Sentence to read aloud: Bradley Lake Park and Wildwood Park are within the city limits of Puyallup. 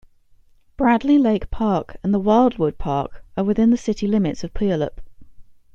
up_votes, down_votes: 0, 2